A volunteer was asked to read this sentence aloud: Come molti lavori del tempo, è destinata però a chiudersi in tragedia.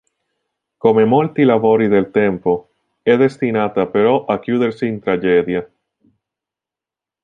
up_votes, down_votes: 1, 2